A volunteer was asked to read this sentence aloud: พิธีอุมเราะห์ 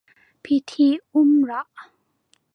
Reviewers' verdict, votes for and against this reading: rejected, 1, 2